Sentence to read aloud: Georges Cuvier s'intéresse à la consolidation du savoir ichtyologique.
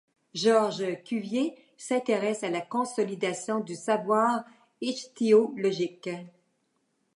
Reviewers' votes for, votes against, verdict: 1, 2, rejected